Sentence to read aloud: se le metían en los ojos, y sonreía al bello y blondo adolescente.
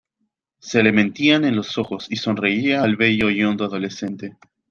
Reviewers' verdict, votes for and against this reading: rejected, 0, 2